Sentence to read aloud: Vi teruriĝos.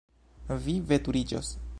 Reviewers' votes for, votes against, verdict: 1, 2, rejected